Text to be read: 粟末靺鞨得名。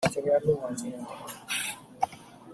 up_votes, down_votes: 0, 2